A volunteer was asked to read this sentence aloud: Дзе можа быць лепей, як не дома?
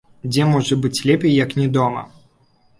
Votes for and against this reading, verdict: 3, 0, accepted